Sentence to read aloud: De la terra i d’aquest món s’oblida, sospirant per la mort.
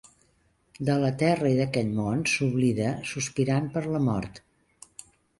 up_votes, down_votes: 2, 0